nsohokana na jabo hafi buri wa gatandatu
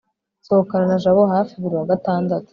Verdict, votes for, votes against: accepted, 3, 0